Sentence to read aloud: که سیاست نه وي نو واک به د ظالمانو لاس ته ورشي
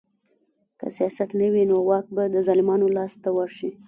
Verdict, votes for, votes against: accepted, 2, 0